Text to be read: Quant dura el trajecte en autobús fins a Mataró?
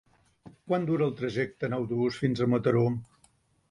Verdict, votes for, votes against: accepted, 3, 0